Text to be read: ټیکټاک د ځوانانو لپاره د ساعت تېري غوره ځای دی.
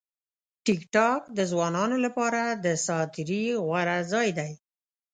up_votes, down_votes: 2, 0